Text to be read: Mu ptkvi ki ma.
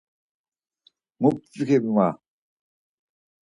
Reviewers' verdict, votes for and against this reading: rejected, 2, 4